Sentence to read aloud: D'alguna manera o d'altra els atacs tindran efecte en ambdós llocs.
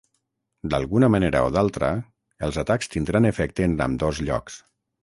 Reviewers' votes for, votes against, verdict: 6, 0, accepted